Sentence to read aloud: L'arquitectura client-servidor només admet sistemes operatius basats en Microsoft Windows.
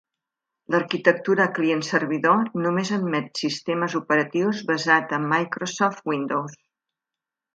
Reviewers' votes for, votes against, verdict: 1, 2, rejected